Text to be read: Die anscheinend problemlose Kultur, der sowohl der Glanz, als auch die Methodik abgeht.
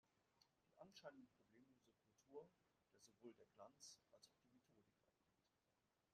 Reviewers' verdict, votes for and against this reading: rejected, 0, 2